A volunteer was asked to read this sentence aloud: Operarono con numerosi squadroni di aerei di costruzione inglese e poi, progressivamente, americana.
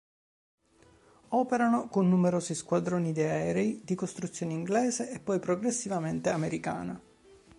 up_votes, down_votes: 2, 5